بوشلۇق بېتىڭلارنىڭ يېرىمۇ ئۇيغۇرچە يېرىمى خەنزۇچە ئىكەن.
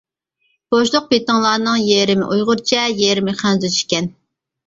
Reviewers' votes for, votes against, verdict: 1, 2, rejected